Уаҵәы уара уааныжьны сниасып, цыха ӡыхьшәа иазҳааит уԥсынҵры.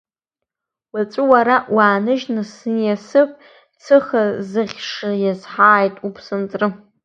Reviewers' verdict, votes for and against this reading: accepted, 2, 1